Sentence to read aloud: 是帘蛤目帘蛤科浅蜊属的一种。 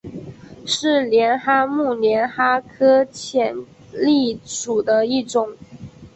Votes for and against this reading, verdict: 3, 0, accepted